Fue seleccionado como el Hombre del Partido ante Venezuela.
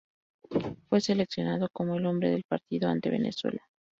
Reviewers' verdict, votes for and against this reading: rejected, 2, 2